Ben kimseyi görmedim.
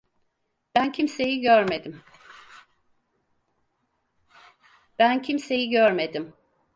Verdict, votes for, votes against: rejected, 0, 4